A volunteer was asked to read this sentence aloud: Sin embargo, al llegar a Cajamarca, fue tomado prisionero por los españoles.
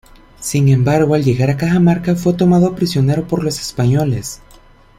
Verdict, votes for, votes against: accepted, 2, 0